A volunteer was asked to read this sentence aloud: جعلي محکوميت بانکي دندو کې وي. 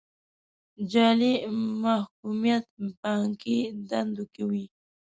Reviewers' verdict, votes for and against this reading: rejected, 1, 2